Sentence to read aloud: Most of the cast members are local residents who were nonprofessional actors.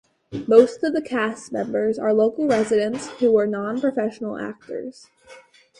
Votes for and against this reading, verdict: 4, 0, accepted